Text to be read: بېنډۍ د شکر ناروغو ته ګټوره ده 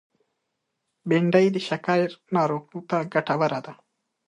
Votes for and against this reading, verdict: 2, 0, accepted